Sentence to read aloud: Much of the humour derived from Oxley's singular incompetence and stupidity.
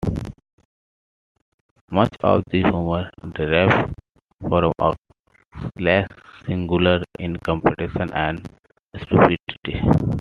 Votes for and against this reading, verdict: 1, 3, rejected